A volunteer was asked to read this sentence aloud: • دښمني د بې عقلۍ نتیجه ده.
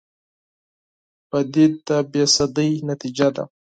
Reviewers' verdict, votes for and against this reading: rejected, 0, 4